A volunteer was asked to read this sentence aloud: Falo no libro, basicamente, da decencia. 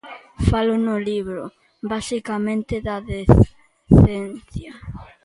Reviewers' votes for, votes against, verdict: 0, 2, rejected